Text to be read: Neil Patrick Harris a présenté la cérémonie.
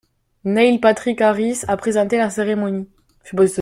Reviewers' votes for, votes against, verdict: 1, 2, rejected